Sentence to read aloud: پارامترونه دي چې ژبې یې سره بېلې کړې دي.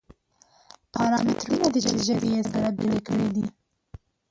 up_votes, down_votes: 2, 1